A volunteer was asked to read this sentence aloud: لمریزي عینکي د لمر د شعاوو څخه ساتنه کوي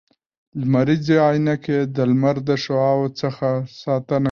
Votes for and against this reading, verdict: 1, 2, rejected